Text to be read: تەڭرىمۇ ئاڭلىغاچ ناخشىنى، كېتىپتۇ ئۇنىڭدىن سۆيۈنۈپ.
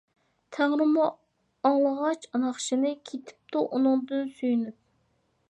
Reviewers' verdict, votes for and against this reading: accepted, 2, 0